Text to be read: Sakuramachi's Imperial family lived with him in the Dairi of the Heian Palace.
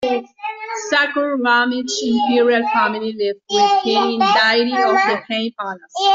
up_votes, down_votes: 0, 2